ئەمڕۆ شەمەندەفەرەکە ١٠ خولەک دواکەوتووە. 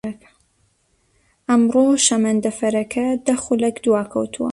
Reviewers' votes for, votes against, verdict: 0, 2, rejected